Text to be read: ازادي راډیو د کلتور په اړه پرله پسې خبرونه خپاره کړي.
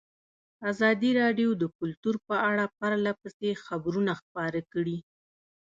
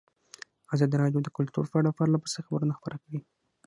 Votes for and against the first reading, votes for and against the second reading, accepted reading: 2, 1, 3, 6, first